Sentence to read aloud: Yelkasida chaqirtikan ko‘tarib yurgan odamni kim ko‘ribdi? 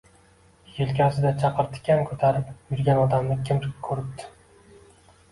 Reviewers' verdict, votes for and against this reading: accepted, 2, 0